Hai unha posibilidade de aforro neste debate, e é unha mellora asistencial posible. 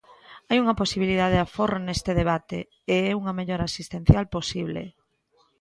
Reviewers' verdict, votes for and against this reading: accepted, 2, 1